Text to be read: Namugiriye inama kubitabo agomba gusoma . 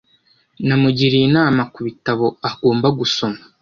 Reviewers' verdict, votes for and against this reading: accepted, 2, 0